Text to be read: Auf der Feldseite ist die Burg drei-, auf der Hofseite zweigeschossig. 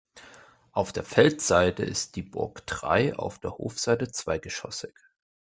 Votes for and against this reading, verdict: 2, 0, accepted